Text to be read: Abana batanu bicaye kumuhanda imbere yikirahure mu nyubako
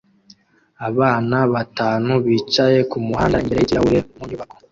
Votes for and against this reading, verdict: 1, 2, rejected